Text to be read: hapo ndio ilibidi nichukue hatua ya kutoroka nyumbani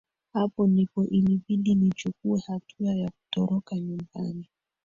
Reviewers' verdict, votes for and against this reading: rejected, 1, 2